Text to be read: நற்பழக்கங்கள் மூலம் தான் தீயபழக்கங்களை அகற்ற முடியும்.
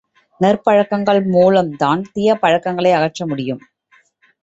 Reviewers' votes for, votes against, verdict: 2, 0, accepted